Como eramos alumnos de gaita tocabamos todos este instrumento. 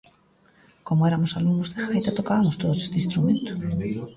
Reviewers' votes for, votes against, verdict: 1, 2, rejected